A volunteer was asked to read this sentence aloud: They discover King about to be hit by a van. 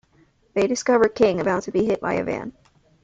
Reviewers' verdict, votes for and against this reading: accepted, 2, 0